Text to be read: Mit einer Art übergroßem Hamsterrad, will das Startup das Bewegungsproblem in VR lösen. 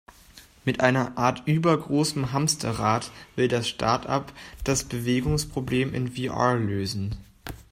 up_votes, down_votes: 2, 0